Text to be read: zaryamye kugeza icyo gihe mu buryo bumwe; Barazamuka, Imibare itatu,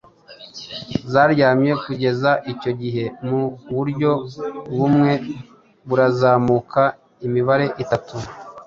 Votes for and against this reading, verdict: 1, 2, rejected